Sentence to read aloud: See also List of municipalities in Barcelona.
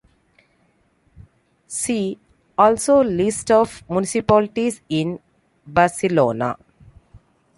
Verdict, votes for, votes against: accepted, 2, 0